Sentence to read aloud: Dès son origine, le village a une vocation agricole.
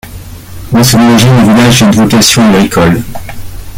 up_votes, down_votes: 1, 2